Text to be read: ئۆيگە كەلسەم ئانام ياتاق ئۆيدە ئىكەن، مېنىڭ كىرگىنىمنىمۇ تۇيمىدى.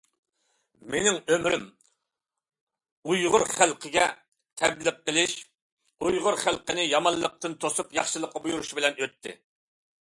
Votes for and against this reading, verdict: 0, 2, rejected